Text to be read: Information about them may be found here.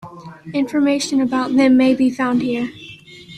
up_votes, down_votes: 2, 0